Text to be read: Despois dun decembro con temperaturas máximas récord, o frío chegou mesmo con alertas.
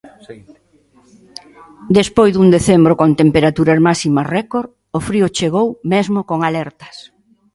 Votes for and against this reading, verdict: 2, 0, accepted